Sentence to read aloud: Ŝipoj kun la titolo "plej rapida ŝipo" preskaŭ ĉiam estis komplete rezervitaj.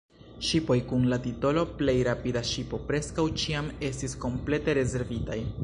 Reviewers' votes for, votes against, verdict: 1, 2, rejected